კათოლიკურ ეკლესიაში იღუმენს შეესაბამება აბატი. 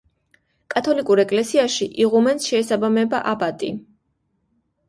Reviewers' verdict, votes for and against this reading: accepted, 2, 0